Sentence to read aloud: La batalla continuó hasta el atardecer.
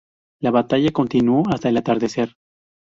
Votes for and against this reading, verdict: 2, 0, accepted